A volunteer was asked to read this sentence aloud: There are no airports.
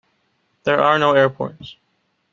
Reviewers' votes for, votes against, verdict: 2, 0, accepted